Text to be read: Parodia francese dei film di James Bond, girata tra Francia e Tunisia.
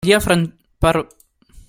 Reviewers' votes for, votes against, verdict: 0, 2, rejected